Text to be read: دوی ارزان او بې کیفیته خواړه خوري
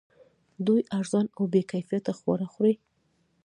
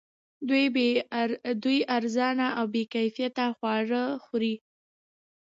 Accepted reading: second